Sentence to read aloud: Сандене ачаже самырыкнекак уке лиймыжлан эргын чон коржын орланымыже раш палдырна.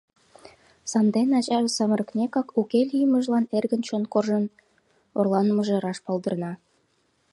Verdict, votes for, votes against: accepted, 2, 0